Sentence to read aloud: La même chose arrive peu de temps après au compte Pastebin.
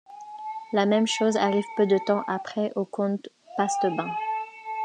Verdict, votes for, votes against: rejected, 0, 2